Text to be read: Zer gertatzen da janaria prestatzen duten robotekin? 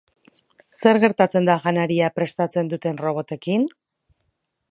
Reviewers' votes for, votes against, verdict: 4, 0, accepted